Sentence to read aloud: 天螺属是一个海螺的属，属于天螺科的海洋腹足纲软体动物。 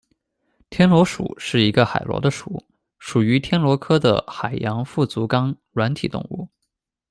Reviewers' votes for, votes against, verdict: 2, 0, accepted